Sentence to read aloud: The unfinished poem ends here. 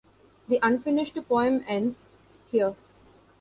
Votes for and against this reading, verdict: 0, 2, rejected